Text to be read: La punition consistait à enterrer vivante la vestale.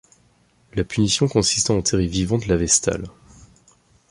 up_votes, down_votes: 0, 2